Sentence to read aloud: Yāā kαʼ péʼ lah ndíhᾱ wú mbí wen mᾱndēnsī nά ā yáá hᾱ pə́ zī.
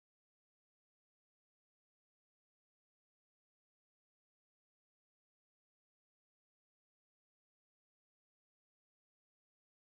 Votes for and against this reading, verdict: 1, 2, rejected